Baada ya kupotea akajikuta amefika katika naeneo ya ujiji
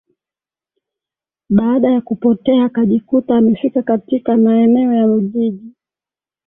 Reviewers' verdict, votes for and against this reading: accepted, 2, 0